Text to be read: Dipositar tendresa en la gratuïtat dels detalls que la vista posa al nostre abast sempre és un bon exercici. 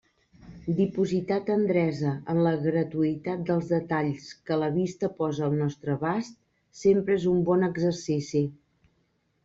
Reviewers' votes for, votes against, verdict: 2, 0, accepted